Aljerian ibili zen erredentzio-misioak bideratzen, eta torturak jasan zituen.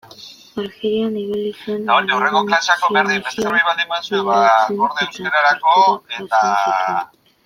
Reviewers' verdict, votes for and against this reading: rejected, 0, 2